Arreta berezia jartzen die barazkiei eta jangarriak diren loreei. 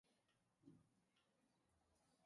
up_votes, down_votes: 0, 2